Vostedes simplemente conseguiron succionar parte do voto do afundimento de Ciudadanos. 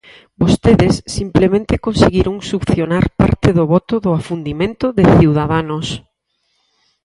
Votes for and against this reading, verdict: 4, 0, accepted